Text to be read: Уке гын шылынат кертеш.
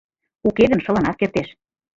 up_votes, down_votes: 2, 0